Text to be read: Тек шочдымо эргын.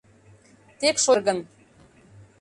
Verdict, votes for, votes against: rejected, 0, 2